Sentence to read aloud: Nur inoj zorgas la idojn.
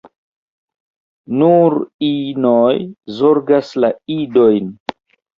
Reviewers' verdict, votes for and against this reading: rejected, 1, 2